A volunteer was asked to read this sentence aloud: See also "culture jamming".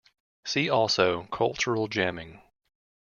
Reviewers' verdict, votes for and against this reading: rejected, 1, 2